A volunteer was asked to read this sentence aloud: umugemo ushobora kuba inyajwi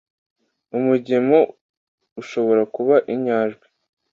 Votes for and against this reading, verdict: 2, 0, accepted